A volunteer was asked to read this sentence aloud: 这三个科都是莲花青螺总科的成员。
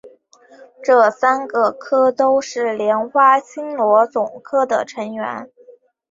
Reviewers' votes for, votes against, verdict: 2, 0, accepted